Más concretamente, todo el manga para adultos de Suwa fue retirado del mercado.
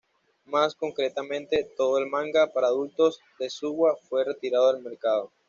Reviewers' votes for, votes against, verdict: 2, 0, accepted